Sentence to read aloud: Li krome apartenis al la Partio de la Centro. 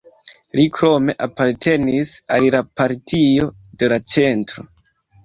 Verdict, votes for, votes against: accepted, 2, 0